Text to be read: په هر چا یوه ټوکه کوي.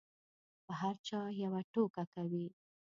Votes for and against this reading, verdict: 2, 0, accepted